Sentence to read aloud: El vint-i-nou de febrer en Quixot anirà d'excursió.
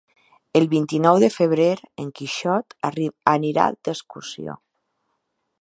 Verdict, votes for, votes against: rejected, 0, 2